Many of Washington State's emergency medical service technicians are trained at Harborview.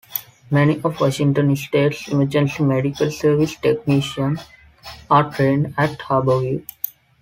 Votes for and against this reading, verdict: 2, 1, accepted